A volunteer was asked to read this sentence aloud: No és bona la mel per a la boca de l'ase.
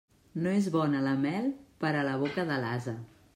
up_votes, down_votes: 2, 0